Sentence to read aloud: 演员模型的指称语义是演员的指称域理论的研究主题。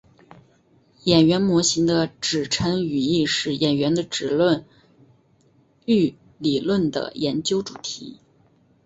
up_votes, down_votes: 2, 1